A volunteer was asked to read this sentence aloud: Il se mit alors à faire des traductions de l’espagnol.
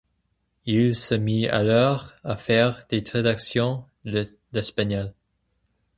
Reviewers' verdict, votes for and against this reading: rejected, 2, 2